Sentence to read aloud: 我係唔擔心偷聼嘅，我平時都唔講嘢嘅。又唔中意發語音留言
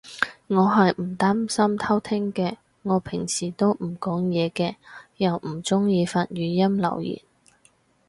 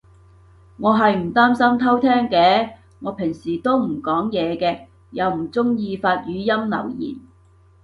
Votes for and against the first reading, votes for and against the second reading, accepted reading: 2, 2, 2, 0, second